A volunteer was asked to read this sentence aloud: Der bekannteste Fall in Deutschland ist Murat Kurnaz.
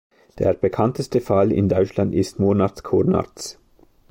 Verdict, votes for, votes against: rejected, 1, 2